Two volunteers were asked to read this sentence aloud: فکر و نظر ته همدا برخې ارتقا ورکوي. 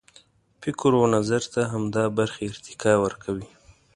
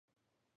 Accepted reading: first